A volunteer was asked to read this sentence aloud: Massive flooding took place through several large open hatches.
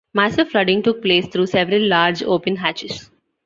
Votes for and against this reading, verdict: 2, 1, accepted